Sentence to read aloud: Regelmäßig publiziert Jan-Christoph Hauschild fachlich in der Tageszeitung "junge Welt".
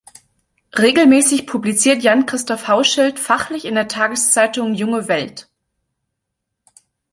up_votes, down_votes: 2, 0